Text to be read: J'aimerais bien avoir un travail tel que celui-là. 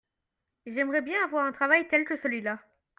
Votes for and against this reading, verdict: 2, 0, accepted